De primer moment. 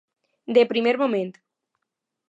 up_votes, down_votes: 2, 0